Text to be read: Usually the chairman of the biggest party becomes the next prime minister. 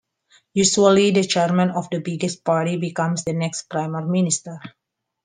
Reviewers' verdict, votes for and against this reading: rejected, 0, 2